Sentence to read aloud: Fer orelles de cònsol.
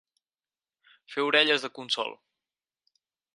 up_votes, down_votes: 6, 4